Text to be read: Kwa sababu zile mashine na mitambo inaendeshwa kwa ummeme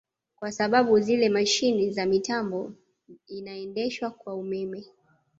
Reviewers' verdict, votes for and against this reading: rejected, 1, 2